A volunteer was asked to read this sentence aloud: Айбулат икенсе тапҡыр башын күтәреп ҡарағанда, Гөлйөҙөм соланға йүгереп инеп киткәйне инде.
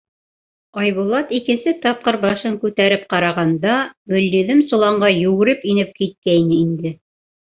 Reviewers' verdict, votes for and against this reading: accepted, 2, 0